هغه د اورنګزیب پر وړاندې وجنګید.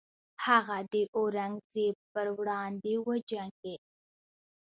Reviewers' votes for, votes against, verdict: 1, 2, rejected